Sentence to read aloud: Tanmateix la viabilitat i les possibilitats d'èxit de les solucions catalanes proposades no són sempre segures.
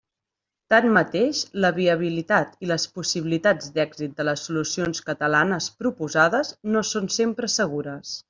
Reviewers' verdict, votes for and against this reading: accepted, 3, 0